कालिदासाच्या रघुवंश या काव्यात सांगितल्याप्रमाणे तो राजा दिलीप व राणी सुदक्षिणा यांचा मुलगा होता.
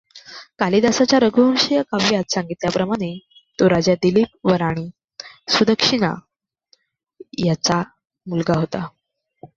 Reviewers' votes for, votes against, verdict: 1, 2, rejected